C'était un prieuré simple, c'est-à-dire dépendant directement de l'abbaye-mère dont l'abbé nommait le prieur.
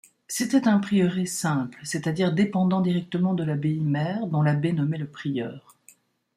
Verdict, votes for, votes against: accepted, 2, 0